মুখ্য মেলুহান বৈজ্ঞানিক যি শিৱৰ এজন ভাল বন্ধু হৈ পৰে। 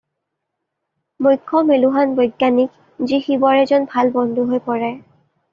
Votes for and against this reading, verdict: 2, 0, accepted